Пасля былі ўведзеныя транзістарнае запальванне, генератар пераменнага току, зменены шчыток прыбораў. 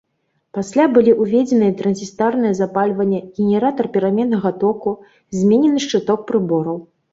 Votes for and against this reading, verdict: 0, 3, rejected